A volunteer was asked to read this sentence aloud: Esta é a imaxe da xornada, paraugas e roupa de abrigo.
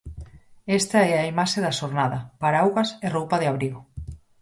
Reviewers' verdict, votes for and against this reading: accepted, 4, 0